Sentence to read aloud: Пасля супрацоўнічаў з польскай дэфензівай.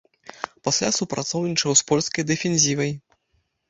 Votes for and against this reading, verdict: 2, 0, accepted